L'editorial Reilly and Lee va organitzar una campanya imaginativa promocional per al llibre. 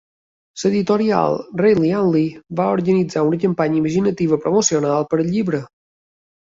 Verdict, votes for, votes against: accepted, 2, 1